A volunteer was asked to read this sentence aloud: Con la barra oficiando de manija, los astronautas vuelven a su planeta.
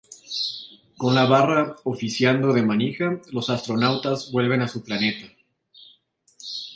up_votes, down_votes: 2, 0